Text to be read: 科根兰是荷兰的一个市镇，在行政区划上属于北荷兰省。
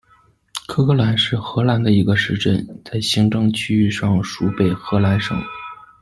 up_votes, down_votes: 1, 2